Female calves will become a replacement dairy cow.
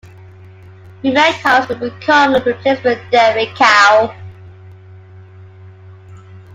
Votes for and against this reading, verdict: 0, 2, rejected